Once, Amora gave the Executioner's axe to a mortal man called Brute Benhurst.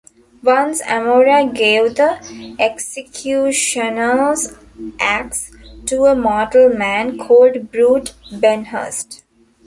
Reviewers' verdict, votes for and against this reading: accepted, 2, 0